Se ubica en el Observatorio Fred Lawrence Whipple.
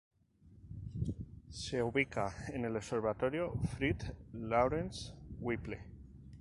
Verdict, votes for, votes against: accepted, 4, 0